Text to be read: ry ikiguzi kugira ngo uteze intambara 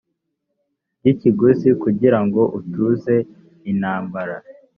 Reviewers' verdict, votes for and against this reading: rejected, 0, 3